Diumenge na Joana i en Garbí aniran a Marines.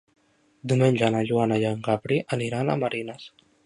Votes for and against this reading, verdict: 1, 2, rejected